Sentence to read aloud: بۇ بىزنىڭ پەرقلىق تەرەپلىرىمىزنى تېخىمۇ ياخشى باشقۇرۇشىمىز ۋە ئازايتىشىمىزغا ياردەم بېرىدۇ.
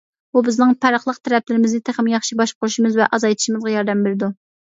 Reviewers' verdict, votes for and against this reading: accepted, 2, 0